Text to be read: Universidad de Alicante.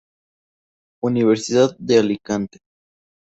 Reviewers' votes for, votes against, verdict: 2, 0, accepted